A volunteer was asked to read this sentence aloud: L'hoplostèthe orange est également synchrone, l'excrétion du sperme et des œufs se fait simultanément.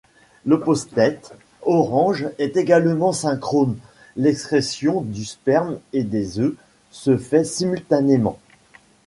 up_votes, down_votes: 1, 2